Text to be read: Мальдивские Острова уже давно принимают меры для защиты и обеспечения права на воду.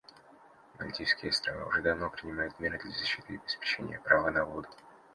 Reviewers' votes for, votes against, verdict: 2, 1, accepted